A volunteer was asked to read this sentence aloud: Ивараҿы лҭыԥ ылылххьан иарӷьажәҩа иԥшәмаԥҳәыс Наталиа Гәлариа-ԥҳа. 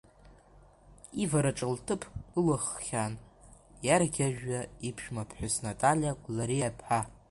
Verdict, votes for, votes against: rejected, 1, 2